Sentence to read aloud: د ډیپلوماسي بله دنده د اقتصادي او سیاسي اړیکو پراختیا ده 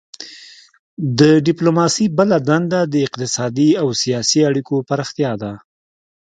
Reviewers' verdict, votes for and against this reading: accepted, 2, 0